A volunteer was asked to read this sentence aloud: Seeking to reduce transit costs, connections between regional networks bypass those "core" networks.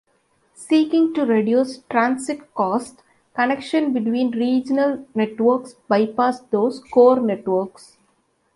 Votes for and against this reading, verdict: 1, 2, rejected